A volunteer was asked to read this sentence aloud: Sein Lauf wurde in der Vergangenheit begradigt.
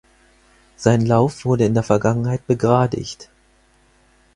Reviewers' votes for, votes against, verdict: 4, 0, accepted